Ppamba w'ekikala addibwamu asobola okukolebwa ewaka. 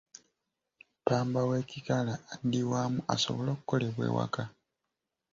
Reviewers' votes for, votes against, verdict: 2, 0, accepted